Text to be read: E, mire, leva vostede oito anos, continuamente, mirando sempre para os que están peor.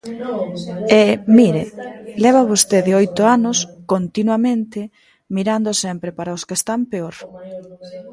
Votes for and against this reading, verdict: 0, 2, rejected